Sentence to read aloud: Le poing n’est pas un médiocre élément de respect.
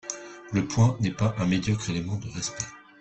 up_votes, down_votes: 1, 2